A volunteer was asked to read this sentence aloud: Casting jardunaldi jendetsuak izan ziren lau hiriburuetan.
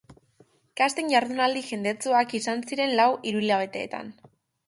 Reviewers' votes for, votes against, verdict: 0, 2, rejected